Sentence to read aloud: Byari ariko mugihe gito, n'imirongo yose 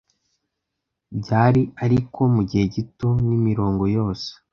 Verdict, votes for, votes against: accepted, 2, 0